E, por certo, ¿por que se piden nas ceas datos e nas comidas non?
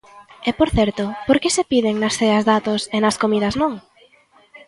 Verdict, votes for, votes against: accepted, 2, 1